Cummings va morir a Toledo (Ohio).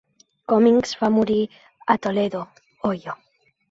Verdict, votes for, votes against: accepted, 2, 1